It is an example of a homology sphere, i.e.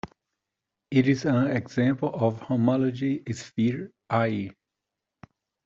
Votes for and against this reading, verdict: 1, 2, rejected